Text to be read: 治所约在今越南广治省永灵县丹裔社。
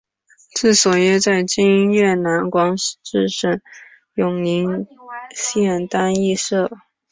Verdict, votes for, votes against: rejected, 0, 2